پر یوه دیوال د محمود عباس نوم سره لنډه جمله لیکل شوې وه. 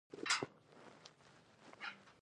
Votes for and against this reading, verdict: 0, 2, rejected